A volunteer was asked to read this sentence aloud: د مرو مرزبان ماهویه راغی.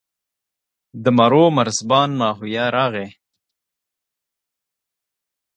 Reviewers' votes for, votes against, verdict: 2, 0, accepted